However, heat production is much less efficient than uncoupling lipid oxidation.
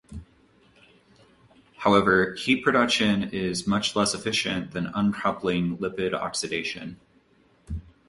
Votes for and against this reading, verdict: 2, 0, accepted